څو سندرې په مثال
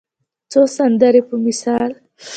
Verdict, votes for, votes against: accepted, 2, 0